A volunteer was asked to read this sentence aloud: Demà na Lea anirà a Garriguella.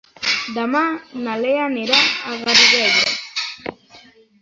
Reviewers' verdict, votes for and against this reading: rejected, 0, 2